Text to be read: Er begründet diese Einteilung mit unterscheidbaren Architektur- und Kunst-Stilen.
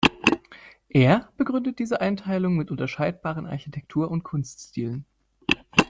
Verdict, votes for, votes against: accepted, 2, 0